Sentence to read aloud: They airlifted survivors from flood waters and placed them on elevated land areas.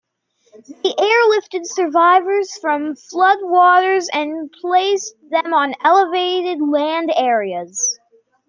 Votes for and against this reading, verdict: 2, 0, accepted